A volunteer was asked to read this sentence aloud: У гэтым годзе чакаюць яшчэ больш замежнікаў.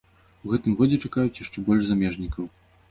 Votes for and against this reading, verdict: 2, 0, accepted